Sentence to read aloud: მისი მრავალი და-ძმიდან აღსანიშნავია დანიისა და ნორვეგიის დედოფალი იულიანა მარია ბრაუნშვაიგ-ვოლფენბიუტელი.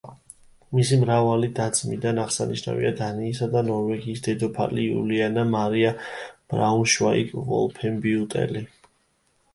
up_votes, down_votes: 2, 0